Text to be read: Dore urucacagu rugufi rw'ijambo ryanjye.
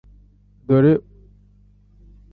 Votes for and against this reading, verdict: 1, 2, rejected